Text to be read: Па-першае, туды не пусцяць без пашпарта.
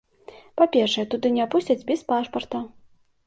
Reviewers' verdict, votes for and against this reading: accepted, 2, 0